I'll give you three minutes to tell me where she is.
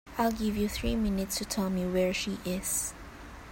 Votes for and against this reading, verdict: 4, 0, accepted